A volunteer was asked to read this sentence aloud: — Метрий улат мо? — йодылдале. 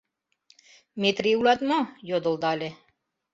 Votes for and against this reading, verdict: 2, 0, accepted